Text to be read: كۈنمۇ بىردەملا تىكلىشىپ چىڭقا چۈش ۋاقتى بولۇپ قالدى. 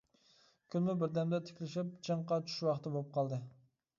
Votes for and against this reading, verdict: 2, 0, accepted